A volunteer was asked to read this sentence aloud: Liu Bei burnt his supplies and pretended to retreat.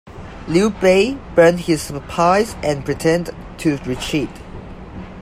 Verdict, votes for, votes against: rejected, 1, 2